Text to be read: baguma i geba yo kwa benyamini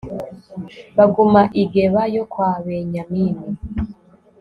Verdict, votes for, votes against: accepted, 2, 0